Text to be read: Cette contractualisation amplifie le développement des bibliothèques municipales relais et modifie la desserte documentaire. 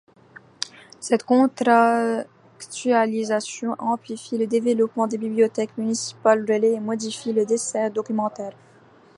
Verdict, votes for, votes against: rejected, 0, 2